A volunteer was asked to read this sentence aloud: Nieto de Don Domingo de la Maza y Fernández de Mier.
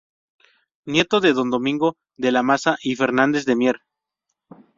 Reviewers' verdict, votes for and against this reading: accepted, 2, 0